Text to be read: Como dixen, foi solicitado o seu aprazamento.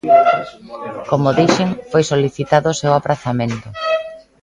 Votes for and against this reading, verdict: 1, 2, rejected